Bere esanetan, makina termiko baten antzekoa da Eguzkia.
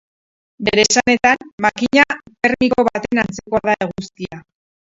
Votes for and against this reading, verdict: 2, 2, rejected